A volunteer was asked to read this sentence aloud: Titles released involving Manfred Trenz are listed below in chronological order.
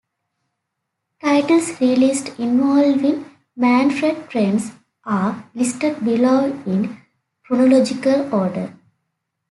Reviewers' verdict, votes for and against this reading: accepted, 2, 0